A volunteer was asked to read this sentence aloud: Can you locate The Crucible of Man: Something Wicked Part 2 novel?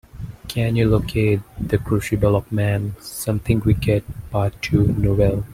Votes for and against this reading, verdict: 0, 2, rejected